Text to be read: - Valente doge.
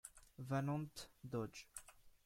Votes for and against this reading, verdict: 1, 2, rejected